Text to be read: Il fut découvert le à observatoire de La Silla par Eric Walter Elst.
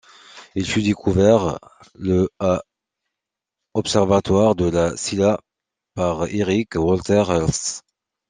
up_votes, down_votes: 2, 0